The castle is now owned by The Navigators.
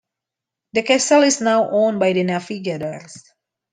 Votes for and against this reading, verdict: 2, 0, accepted